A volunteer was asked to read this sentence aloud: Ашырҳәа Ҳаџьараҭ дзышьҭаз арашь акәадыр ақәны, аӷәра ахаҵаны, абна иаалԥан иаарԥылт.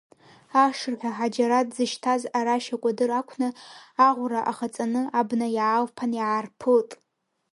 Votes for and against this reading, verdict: 2, 0, accepted